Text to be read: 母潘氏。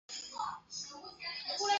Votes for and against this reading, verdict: 0, 3, rejected